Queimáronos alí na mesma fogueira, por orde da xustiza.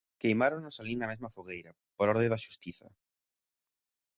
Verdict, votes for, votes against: accepted, 2, 1